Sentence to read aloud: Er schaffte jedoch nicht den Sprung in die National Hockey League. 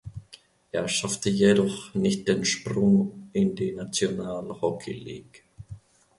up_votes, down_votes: 2, 0